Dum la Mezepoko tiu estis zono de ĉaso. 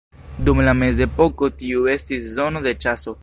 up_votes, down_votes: 1, 2